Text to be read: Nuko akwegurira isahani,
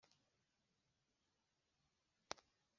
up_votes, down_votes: 0, 2